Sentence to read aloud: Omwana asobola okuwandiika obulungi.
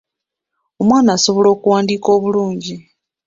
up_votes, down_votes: 2, 1